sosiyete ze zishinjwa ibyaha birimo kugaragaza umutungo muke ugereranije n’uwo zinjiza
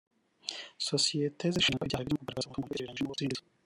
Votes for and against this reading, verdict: 0, 2, rejected